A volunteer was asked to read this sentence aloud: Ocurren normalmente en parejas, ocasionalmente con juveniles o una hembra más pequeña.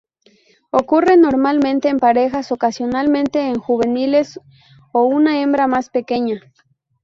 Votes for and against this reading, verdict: 0, 2, rejected